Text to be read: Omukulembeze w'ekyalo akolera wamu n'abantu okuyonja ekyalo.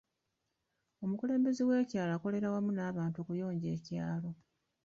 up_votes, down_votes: 2, 1